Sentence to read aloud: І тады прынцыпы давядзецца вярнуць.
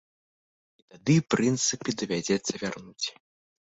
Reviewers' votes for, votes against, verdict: 1, 2, rejected